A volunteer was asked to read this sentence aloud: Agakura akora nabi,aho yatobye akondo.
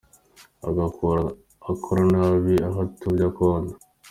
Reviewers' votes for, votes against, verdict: 2, 0, accepted